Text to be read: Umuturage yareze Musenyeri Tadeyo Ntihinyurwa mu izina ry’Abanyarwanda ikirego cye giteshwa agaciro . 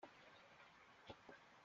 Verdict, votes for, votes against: rejected, 0, 3